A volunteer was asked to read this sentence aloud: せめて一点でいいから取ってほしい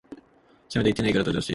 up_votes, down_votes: 1, 2